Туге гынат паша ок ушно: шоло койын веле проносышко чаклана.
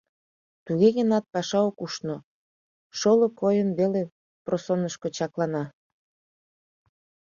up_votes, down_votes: 1, 2